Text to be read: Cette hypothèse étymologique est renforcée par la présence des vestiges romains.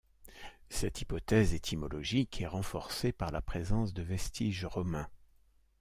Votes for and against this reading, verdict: 1, 2, rejected